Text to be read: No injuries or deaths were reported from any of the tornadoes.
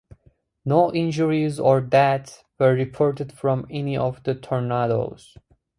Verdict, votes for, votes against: rejected, 2, 2